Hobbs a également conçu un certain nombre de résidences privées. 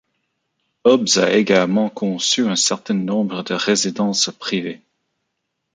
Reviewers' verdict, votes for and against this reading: accepted, 2, 1